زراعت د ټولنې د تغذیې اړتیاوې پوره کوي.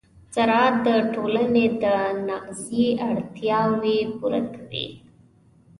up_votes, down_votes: 2, 0